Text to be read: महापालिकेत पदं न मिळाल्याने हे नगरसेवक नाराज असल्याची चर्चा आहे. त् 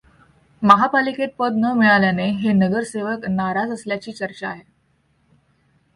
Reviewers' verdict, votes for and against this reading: rejected, 1, 2